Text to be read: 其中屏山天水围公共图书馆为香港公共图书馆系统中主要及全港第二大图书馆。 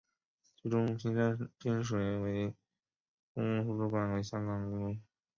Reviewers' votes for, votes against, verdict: 0, 2, rejected